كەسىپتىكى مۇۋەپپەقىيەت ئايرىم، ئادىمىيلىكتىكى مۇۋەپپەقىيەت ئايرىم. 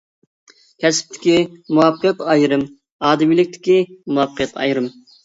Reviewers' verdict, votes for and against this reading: accepted, 2, 0